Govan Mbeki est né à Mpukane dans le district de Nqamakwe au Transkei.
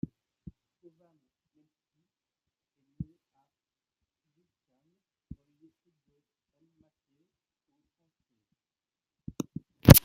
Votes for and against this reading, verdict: 0, 2, rejected